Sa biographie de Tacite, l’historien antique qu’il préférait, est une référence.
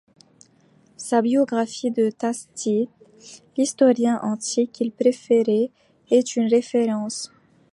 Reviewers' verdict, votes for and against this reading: rejected, 1, 2